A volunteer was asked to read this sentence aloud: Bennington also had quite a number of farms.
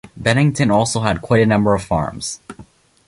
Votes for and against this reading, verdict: 2, 0, accepted